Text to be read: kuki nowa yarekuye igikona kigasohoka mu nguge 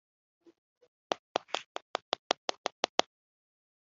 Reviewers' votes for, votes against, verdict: 0, 3, rejected